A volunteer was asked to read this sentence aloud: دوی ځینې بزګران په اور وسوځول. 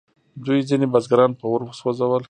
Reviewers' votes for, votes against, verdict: 2, 0, accepted